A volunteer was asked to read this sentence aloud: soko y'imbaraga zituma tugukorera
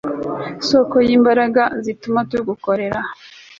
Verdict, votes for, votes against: accepted, 2, 0